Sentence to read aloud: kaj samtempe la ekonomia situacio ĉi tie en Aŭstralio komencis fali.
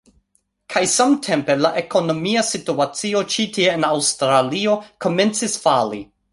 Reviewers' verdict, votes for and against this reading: accepted, 2, 0